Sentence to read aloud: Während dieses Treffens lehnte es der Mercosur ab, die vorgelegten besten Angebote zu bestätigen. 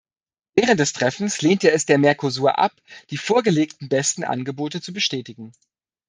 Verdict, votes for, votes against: rejected, 1, 2